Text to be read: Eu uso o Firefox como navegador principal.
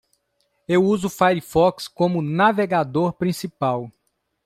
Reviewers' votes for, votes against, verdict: 2, 0, accepted